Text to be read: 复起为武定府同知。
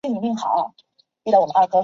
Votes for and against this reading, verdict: 0, 3, rejected